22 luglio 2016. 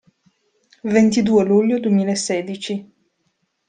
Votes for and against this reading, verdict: 0, 2, rejected